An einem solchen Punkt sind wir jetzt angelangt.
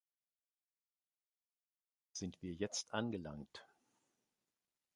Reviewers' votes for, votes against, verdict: 0, 2, rejected